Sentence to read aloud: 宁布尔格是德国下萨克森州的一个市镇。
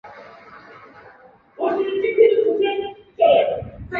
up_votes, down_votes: 0, 2